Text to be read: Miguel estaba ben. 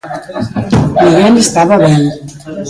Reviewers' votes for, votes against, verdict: 1, 2, rejected